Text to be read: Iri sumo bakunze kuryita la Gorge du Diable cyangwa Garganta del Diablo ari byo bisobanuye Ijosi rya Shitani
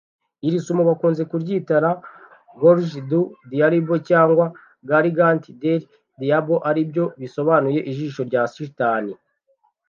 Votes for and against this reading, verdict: 0, 2, rejected